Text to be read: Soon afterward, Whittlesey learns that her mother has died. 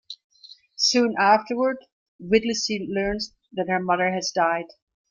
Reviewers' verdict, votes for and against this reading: accepted, 2, 0